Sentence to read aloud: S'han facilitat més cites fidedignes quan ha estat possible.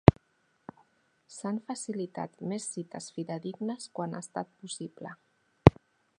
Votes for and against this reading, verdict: 2, 1, accepted